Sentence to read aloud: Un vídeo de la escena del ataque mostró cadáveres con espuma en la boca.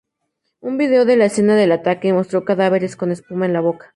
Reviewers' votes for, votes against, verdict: 2, 0, accepted